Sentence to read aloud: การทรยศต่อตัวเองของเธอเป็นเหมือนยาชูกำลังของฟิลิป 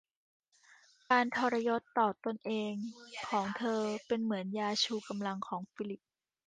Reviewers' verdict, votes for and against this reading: accepted, 2, 0